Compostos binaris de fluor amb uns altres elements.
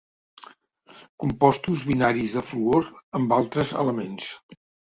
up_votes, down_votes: 0, 2